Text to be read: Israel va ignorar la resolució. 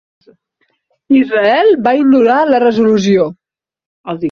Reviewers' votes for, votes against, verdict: 1, 2, rejected